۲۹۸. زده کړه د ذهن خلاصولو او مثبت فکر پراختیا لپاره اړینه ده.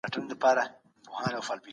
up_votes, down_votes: 0, 2